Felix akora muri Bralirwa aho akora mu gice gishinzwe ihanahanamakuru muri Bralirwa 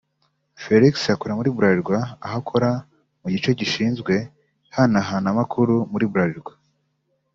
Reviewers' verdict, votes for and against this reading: accepted, 2, 0